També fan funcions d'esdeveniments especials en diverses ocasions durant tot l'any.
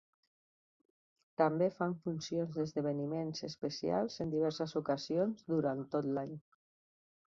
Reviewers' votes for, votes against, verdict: 3, 0, accepted